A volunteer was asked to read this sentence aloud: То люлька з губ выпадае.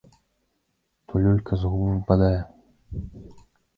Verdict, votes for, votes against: rejected, 1, 2